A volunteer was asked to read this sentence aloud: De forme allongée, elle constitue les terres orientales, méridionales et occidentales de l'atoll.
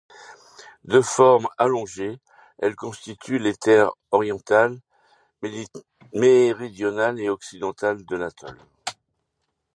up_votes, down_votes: 0, 2